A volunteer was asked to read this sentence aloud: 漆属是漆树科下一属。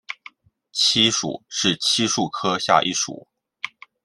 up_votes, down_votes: 2, 0